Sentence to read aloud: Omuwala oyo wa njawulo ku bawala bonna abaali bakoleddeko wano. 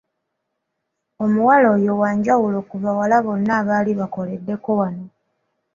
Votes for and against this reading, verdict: 2, 0, accepted